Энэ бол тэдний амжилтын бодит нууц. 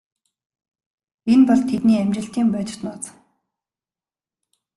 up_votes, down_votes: 2, 1